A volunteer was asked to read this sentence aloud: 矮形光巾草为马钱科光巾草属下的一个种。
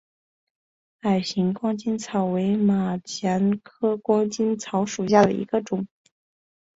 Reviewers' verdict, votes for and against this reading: accepted, 2, 0